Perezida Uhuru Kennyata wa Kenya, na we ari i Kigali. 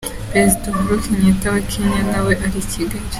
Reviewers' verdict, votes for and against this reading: accepted, 2, 0